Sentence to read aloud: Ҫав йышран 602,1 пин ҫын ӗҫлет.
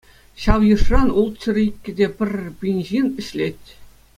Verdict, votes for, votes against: rejected, 0, 2